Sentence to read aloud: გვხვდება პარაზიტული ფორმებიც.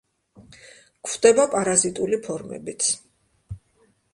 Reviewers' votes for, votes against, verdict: 2, 1, accepted